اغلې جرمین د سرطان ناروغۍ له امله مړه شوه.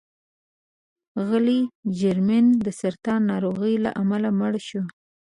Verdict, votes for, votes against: accepted, 2, 1